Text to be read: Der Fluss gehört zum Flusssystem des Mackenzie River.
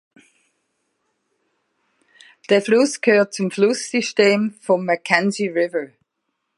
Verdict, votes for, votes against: rejected, 0, 2